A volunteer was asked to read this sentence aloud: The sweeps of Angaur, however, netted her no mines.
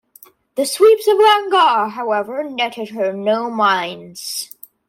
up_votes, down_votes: 2, 0